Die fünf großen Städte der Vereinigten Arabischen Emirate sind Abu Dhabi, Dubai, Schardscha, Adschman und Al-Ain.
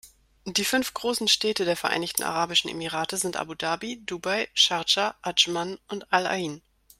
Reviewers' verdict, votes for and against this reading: accepted, 2, 0